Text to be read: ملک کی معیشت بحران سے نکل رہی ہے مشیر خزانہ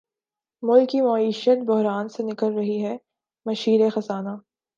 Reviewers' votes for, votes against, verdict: 2, 0, accepted